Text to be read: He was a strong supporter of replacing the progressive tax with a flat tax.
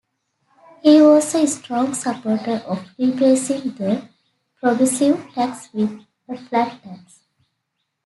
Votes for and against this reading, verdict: 2, 0, accepted